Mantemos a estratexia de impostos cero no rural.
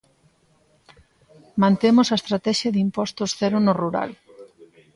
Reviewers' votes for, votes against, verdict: 2, 0, accepted